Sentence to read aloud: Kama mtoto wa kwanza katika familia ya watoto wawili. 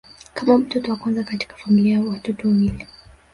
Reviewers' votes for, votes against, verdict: 1, 3, rejected